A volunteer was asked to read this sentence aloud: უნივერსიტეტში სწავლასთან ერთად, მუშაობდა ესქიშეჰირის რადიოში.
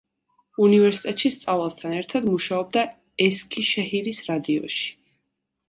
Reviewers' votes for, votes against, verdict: 2, 0, accepted